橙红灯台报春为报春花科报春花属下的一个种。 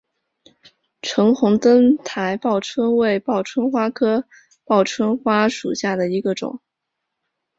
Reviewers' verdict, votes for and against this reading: accepted, 2, 0